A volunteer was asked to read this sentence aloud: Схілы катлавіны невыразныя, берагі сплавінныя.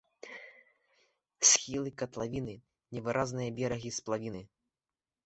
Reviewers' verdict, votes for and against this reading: rejected, 1, 2